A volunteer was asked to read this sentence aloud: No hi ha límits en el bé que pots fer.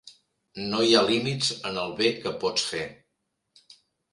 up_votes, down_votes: 2, 0